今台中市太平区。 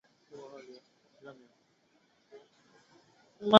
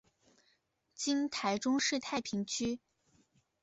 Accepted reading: second